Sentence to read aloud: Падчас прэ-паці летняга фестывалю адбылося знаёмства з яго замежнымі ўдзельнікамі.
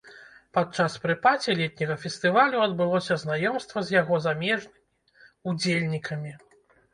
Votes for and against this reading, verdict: 0, 2, rejected